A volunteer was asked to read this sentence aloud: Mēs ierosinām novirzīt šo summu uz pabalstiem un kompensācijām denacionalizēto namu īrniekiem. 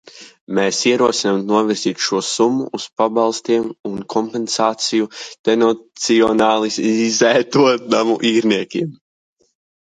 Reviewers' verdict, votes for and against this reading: rejected, 0, 2